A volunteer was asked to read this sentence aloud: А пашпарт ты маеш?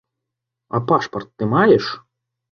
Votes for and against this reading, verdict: 2, 0, accepted